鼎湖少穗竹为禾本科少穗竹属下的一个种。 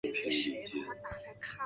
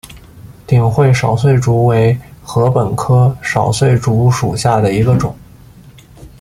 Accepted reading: second